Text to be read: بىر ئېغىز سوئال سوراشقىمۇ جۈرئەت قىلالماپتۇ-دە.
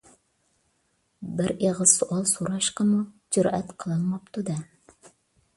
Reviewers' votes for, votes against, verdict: 2, 0, accepted